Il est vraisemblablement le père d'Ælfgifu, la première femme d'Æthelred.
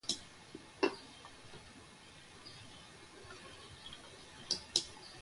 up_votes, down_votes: 0, 2